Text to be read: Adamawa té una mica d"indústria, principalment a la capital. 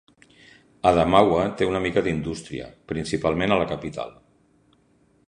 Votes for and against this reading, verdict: 2, 0, accepted